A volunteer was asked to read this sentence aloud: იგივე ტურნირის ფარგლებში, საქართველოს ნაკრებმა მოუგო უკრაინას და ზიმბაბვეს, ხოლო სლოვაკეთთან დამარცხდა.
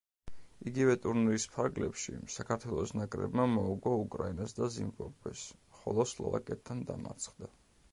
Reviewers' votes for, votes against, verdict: 2, 0, accepted